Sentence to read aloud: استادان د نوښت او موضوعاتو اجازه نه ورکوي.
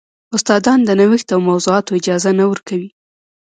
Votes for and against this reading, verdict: 1, 2, rejected